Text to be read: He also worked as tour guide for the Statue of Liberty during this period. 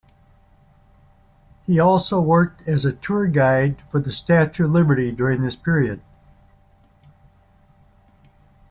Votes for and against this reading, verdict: 2, 0, accepted